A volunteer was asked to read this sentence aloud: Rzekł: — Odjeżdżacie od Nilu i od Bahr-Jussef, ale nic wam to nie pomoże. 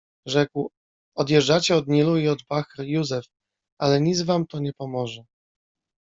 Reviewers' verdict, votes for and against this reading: accepted, 2, 1